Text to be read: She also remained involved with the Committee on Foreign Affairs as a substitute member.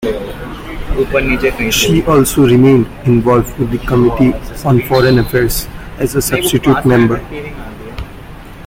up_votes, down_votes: 2, 1